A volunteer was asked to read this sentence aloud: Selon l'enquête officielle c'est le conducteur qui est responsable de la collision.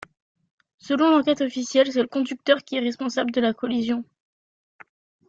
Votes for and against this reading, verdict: 2, 0, accepted